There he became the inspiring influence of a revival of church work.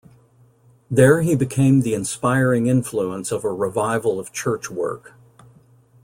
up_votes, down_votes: 2, 0